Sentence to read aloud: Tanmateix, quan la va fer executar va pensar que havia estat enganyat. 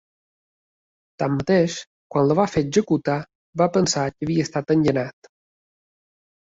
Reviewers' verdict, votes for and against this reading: rejected, 1, 3